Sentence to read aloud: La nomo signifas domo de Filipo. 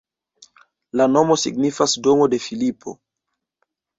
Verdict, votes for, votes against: accepted, 2, 0